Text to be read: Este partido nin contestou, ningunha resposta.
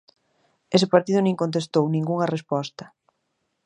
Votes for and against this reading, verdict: 1, 2, rejected